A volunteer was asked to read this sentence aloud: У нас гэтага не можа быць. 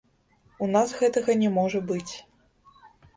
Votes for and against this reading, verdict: 0, 2, rejected